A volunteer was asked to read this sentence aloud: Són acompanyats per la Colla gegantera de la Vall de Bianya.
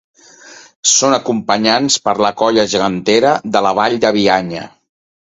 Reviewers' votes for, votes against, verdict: 1, 2, rejected